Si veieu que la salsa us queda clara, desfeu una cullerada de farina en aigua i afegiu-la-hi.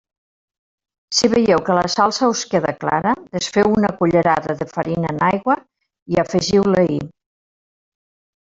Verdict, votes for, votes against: accepted, 2, 0